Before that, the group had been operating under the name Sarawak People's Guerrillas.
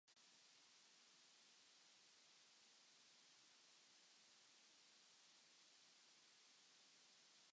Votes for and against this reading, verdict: 0, 2, rejected